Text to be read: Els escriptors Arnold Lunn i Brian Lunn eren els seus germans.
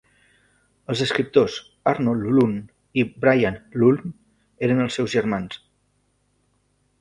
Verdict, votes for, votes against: rejected, 1, 2